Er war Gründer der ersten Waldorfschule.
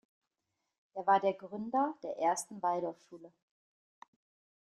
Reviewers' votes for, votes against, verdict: 2, 1, accepted